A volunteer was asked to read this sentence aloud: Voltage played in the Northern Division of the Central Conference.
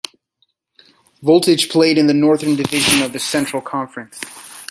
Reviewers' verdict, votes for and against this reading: rejected, 0, 2